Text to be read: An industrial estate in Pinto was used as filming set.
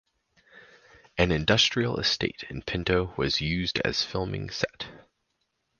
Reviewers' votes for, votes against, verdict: 4, 0, accepted